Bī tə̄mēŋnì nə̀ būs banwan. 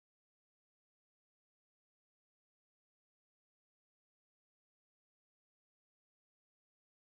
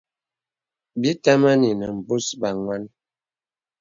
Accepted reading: second